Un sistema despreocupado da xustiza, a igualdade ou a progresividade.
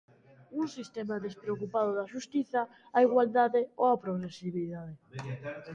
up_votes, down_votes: 0, 2